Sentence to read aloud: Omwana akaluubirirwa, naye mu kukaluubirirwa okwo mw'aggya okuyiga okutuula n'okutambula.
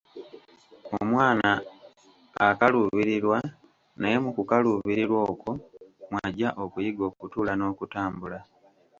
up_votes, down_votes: 2, 1